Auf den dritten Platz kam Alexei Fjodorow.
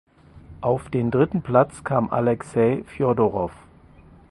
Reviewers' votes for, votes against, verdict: 4, 0, accepted